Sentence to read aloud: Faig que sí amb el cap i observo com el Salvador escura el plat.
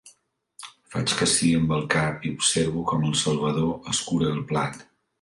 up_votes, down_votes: 1, 2